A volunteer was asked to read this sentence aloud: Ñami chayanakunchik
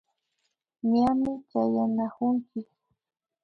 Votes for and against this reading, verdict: 2, 2, rejected